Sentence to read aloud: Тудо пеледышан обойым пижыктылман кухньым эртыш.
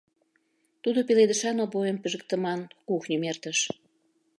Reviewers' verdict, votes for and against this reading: rejected, 0, 2